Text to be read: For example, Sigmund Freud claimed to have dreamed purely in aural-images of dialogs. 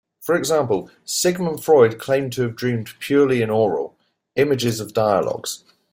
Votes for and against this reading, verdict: 1, 2, rejected